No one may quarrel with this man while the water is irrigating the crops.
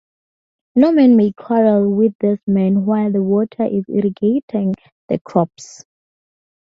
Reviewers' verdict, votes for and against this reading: rejected, 2, 2